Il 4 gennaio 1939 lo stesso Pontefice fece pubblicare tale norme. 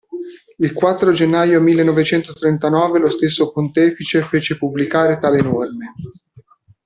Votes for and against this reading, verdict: 0, 2, rejected